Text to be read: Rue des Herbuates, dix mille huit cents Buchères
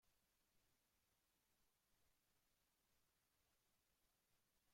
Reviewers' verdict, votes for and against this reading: rejected, 0, 2